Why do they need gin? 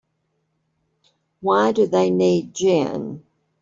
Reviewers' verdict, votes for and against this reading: accepted, 3, 0